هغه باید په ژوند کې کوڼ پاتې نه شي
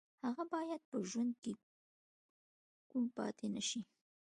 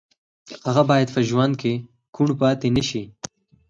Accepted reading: second